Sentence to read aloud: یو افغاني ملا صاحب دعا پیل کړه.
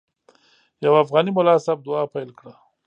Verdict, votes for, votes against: accepted, 2, 0